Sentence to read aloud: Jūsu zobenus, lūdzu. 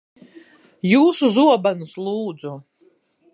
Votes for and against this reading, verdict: 2, 0, accepted